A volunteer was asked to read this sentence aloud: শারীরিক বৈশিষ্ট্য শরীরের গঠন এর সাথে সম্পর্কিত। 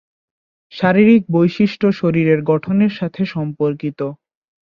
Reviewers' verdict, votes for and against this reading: accepted, 2, 0